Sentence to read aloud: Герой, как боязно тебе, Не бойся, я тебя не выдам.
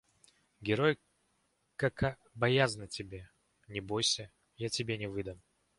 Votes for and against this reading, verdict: 0, 2, rejected